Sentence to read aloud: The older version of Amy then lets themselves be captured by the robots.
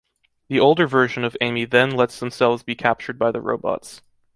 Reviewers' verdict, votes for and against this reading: rejected, 0, 2